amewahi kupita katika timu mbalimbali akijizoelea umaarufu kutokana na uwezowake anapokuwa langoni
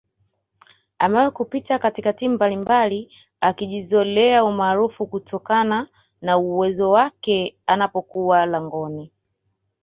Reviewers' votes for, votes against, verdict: 2, 0, accepted